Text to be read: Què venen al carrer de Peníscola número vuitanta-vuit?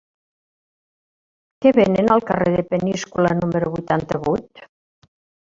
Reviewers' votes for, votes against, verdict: 1, 2, rejected